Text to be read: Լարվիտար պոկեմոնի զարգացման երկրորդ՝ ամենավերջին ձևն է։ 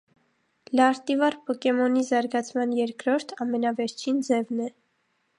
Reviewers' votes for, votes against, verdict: 0, 2, rejected